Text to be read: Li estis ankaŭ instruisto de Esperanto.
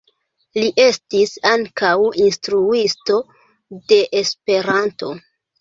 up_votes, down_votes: 1, 2